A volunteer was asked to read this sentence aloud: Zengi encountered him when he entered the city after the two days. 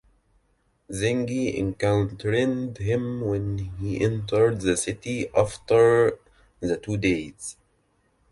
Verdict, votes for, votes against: rejected, 0, 2